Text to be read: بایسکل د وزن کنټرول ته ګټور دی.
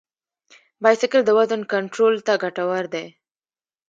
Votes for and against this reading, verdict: 0, 2, rejected